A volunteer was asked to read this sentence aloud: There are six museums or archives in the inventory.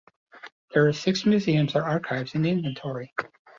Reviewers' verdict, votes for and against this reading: rejected, 1, 2